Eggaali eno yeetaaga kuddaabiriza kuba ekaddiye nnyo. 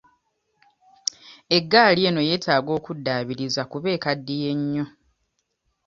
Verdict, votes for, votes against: accepted, 2, 0